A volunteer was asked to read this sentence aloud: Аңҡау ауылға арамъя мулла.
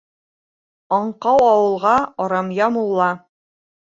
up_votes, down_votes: 3, 0